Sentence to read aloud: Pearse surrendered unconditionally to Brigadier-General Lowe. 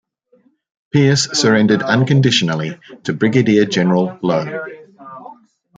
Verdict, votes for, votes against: rejected, 0, 2